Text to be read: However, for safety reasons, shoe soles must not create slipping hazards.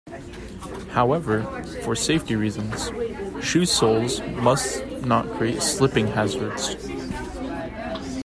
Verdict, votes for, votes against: accepted, 2, 0